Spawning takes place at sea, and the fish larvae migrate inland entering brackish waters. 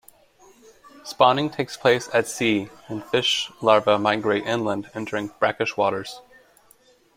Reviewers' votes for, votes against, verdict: 1, 2, rejected